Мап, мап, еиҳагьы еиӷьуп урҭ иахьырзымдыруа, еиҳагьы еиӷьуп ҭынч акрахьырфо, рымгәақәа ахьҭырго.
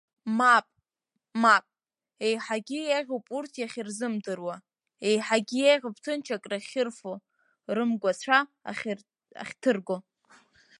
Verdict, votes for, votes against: rejected, 3, 5